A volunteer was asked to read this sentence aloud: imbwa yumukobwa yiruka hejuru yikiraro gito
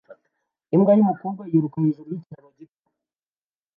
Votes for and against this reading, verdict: 1, 2, rejected